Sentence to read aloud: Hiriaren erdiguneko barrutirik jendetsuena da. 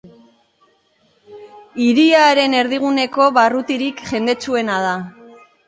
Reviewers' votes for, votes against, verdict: 2, 0, accepted